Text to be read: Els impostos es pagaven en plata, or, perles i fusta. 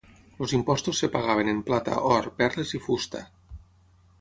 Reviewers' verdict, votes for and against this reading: rejected, 3, 6